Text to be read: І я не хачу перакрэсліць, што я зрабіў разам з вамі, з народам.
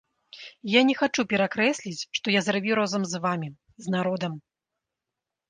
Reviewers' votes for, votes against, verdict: 1, 2, rejected